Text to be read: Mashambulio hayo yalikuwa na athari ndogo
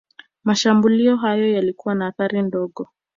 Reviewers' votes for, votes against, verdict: 0, 3, rejected